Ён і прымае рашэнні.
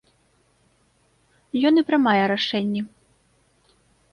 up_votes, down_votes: 2, 0